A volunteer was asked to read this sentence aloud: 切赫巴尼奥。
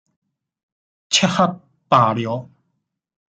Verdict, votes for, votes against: accepted, 2, 1